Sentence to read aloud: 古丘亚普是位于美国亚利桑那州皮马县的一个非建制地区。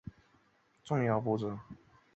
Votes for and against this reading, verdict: 0, 2, rejected